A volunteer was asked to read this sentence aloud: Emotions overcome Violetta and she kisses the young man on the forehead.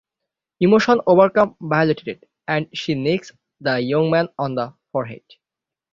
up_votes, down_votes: 0, 6